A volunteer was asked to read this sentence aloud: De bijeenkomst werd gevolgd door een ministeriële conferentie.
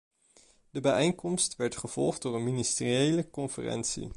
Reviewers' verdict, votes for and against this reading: accepted, 2, 0